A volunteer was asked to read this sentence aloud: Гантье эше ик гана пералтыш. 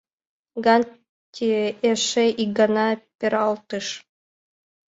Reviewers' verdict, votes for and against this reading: accepted, 2, 0